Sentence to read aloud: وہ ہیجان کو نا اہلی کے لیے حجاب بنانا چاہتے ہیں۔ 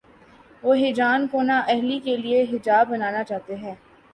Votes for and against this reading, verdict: 3, 0, accepted